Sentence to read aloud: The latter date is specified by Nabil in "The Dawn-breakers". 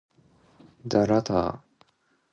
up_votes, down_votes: 0, 2